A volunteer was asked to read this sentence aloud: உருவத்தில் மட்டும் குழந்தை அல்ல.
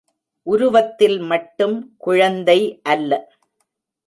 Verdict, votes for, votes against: rejected, 0, 2